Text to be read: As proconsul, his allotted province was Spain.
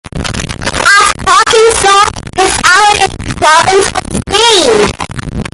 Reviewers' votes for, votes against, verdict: 0, 2, rejected